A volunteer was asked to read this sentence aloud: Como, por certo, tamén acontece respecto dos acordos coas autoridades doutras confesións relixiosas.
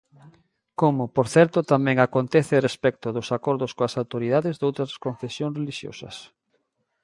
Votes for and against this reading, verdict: 2, 0, accepted